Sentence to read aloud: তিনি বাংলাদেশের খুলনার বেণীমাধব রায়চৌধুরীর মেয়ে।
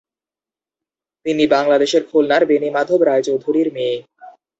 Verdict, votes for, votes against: accepted, 2, 0